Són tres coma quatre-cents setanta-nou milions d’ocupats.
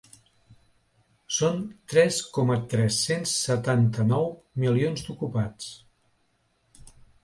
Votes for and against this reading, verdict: 1, 2, rejected